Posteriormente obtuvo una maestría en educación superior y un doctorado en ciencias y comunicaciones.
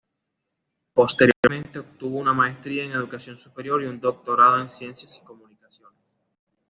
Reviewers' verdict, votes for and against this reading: accepted, 2, 1